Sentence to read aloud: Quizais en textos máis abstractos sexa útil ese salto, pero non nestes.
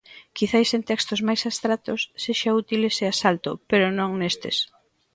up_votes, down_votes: 0, 2